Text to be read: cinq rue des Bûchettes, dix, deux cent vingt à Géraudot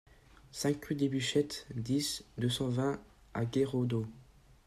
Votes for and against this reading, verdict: 1, 2, rejected